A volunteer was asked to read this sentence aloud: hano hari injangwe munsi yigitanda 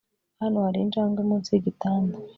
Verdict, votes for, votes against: accepted, 3, 0